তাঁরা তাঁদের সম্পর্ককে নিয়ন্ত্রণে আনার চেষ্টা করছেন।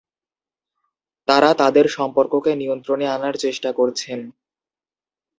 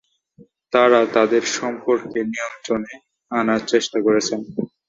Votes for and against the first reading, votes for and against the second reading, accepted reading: 2, 0, 0, 2, first